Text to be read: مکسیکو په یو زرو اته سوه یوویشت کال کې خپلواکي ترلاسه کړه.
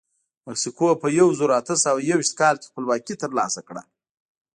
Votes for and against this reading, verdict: 2, 0, accepted